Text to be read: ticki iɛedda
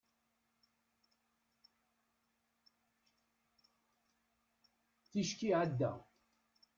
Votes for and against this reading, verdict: 0, 2, rejected